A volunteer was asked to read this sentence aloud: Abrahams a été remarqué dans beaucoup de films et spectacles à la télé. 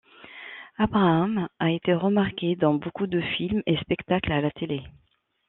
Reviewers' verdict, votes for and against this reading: accepted, 2, 1